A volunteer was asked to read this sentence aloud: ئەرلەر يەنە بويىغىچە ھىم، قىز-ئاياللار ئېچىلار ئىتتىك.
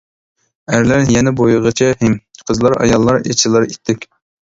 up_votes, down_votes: 0, 2